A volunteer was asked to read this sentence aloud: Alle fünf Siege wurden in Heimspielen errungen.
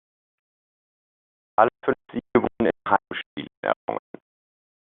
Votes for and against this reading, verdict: 0, 2, rejected